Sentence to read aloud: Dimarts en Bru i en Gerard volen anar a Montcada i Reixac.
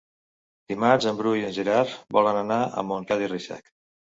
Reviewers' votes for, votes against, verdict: 2, 0, accepted